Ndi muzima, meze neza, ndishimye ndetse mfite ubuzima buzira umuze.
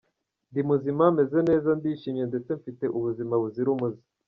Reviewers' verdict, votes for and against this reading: accepted, 2, 0